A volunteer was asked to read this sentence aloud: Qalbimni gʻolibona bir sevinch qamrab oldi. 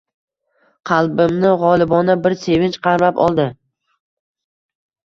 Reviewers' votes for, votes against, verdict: 2, 0, accepted